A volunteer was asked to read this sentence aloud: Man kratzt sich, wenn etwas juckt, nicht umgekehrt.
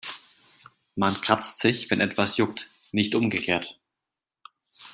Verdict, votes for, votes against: accepted, 2, 0